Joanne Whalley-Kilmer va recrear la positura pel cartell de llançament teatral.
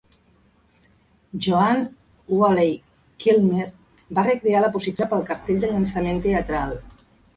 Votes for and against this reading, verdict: 0, 2, rejected